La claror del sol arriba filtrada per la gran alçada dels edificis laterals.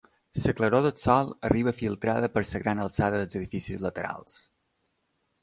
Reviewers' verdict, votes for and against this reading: rejected, 1, 2